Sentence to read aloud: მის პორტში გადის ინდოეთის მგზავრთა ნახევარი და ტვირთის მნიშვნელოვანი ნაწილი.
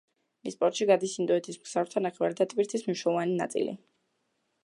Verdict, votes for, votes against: rejected, 1, 2